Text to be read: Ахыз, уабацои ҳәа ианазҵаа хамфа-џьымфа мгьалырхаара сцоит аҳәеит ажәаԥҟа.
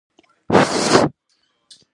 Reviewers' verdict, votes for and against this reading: rejected, 0, 2